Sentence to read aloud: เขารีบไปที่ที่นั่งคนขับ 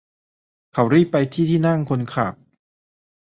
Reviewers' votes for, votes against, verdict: 2, 0, accepted